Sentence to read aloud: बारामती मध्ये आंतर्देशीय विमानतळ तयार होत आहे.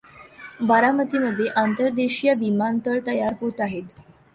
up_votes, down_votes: 2, 0